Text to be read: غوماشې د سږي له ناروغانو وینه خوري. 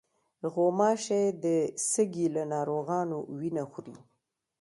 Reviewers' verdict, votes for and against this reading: rejected, 0, 2